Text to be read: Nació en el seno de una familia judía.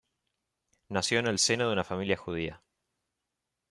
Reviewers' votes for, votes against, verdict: 2, 1, accepted